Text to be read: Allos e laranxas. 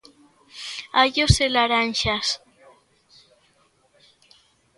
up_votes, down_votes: 3, 0